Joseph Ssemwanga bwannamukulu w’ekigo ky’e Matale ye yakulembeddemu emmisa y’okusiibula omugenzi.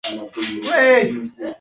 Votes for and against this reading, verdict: 1, 2, rejected